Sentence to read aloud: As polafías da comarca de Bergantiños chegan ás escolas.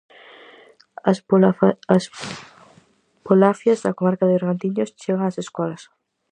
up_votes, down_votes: 0, 4